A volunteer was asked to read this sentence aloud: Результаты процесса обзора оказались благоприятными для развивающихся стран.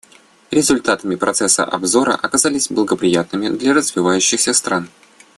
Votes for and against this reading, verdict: 1, 2, rejected